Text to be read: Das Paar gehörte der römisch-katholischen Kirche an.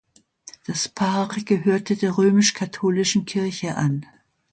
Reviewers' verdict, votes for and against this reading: accepted, 2, 0